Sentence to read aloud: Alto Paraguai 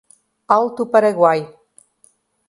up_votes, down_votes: 2, 0